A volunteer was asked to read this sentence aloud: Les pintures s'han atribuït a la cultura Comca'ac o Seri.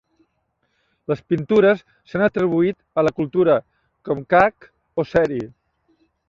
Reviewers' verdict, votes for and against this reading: accepted, 2, 0